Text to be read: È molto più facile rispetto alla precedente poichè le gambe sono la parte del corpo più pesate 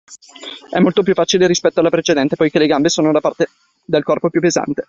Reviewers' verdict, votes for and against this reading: rejected, 0, 2